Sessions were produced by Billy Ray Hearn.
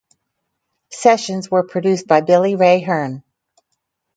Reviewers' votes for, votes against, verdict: 4, 0, accepted